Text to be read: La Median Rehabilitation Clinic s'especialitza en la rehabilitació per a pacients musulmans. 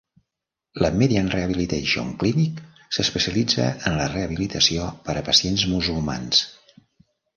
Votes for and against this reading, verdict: 2, 0, accepted